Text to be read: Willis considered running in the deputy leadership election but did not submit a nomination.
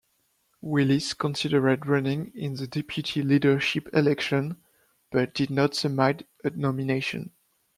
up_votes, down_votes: 0, 2